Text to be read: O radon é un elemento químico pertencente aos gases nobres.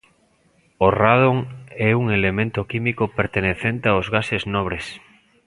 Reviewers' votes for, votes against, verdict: 0, 2, rejected